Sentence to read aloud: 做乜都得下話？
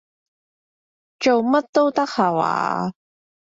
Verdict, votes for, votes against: accepted, 2, 0